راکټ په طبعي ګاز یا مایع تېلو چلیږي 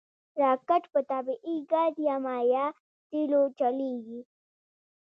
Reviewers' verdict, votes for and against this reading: rejected, 0, 2